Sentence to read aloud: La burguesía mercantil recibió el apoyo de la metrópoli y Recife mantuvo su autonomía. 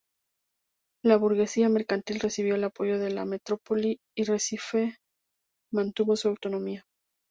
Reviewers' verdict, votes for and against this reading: rejected, 0, 2